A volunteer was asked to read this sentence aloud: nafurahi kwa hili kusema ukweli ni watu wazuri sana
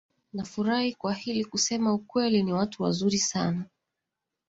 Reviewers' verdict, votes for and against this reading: accepted, 2, 0